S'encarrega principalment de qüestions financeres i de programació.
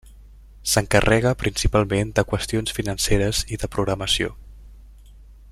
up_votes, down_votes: 3, 0